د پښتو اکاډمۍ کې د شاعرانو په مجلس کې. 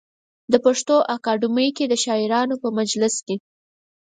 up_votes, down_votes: 4, 0